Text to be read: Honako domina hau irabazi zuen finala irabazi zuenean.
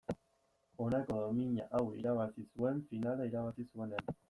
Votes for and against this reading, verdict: 2, 0, accepted